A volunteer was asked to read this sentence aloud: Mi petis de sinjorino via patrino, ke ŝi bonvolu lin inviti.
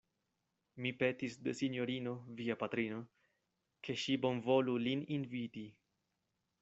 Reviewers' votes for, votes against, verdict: 2, 1, accepted